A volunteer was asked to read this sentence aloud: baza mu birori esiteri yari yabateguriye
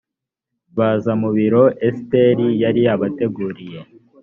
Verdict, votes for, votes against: rejected, 1, 3